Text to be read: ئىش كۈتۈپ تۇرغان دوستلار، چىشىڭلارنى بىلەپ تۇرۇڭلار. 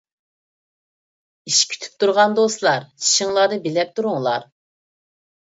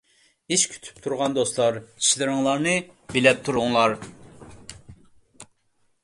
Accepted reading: first